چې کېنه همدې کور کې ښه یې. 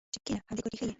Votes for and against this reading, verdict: 0, 2, rejected